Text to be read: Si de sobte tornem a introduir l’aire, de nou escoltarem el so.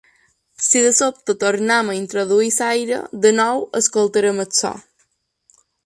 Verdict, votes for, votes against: rejected, 1, 2